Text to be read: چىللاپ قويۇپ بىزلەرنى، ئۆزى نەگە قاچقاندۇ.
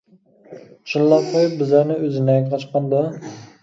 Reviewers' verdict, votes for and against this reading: accepted, 2, 1